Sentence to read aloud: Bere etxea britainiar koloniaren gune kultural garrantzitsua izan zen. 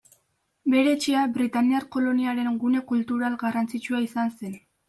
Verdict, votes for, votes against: accepted, 2, 0